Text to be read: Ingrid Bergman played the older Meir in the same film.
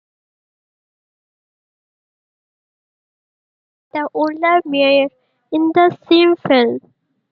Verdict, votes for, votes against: rejected, 0, 2